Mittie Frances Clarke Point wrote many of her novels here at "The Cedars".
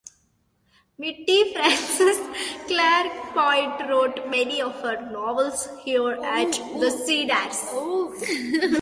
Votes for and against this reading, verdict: 1, 2, rejected